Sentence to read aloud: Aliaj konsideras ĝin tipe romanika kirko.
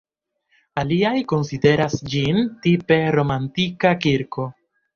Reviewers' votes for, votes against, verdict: 2, 1, accepted